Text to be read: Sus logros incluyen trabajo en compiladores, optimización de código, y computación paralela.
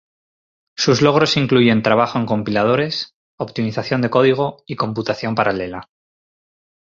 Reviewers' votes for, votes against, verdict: 2, 2, rejected